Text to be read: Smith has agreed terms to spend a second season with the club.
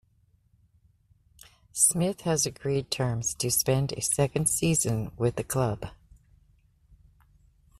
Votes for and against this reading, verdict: 2, 0, accepted